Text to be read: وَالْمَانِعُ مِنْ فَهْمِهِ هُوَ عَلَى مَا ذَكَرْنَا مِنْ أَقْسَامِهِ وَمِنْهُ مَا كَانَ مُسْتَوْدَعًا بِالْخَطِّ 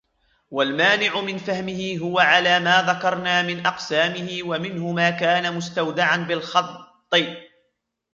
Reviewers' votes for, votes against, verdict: 1, 2, rejected